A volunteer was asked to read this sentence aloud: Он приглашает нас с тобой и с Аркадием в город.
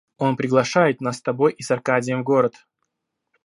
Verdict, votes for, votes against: accepted, 2, 0